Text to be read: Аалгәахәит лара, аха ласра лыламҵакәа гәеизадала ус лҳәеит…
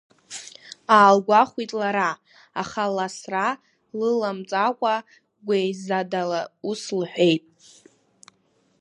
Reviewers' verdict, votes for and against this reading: rejected, 1, 2